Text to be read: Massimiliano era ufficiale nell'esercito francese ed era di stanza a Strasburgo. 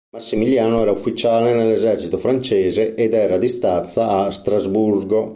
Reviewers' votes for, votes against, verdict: 0, 2, rejected